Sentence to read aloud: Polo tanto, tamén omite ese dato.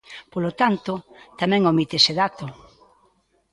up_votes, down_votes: 2, 0